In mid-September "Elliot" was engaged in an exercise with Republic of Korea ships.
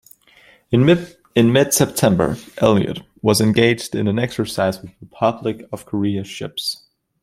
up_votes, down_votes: 0, 2